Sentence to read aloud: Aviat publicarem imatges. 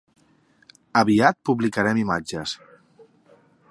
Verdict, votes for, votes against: accepted, 3, 0